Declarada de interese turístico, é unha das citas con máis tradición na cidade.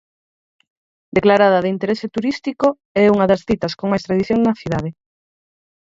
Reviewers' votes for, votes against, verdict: 4, 2, accepted